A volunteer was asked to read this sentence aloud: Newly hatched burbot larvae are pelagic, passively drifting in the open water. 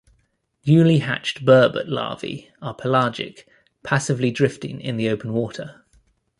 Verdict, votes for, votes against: accepted, 2, 0